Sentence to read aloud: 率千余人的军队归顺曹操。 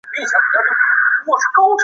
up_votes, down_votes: 2, 5